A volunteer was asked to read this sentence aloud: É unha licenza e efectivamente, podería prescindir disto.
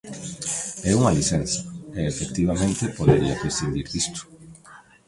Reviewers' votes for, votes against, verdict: 1, 2, rejected